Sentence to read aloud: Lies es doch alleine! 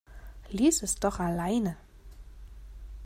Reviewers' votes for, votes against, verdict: 2, 0, accepted